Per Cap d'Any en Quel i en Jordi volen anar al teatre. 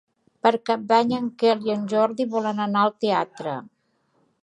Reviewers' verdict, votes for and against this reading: accepted, 2, 0